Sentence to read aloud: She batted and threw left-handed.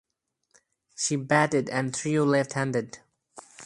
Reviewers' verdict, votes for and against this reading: rejected, 0, 2